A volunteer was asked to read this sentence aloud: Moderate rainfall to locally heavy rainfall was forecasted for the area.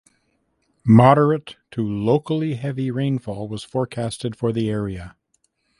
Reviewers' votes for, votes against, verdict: 1, 2, rejected